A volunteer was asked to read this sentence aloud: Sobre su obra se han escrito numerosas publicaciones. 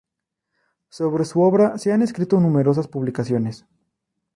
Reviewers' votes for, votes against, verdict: 2, 0, accepted